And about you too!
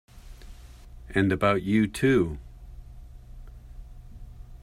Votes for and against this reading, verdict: 2, 0, accepted